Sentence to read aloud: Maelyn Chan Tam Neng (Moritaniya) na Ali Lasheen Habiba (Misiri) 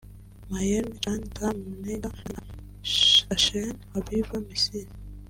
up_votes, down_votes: 0, 2